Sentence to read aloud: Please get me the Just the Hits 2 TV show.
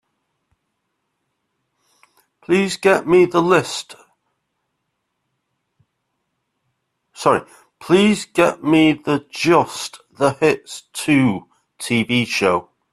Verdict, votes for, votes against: rejected, 0, 2